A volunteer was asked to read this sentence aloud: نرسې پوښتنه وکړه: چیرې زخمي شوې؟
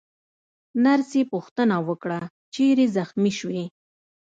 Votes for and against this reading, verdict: 1, 2, rejected